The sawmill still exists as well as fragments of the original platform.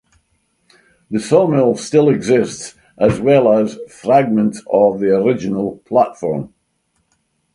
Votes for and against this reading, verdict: 4, 0, accepted